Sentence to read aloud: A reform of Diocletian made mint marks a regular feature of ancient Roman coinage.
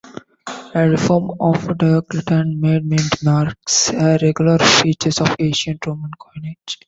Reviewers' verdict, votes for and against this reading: rejected, 0, 2